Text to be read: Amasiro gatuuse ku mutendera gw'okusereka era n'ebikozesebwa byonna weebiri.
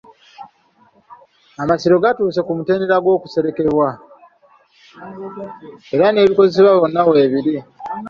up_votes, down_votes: 0, 2